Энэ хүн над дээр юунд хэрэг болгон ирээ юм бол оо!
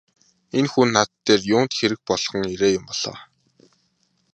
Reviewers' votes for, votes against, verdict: 1, 2, rejected